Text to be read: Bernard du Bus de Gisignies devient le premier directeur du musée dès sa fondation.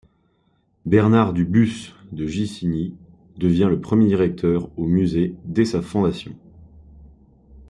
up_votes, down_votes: 0, 2